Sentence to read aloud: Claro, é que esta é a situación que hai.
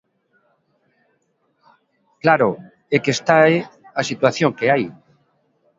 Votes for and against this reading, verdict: 0, 2, rejected